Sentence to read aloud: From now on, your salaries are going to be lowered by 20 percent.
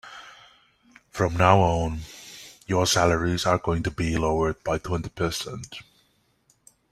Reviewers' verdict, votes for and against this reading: rejected, 0, 2